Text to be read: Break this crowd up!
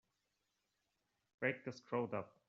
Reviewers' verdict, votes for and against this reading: accepted, 2, 1